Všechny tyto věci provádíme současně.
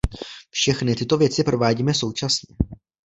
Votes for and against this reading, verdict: 1, 2, rejected